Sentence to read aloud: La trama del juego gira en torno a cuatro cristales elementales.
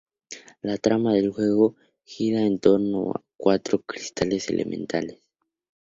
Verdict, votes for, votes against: accepted, 2, 0